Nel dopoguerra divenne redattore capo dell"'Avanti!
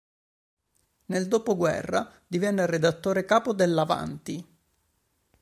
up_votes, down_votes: 3, 0